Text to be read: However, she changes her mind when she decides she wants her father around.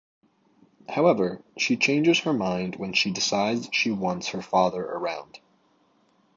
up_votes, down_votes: 2, 0